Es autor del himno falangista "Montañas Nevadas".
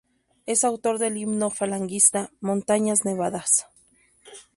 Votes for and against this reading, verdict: 0, 2, rejected